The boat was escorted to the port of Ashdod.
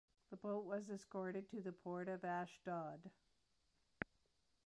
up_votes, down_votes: 2, 0